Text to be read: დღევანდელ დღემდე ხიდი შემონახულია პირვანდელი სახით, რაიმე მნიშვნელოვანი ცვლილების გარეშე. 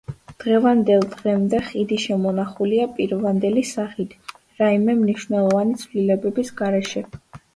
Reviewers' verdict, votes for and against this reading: rejected, 0, 2